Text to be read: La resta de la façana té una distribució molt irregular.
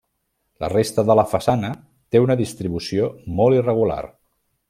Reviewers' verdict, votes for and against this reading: accepted, 4, 0